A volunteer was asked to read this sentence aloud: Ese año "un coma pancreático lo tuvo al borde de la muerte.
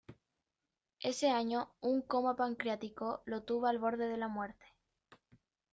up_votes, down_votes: 0, 2